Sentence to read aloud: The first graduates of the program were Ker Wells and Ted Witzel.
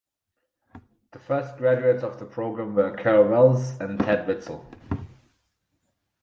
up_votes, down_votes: 4, 0